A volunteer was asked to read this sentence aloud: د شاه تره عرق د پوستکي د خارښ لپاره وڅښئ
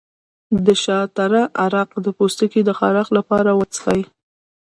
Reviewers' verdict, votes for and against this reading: accepted, 2, 0